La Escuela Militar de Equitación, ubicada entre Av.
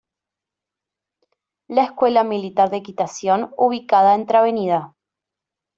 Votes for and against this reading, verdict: 1, 2, rejected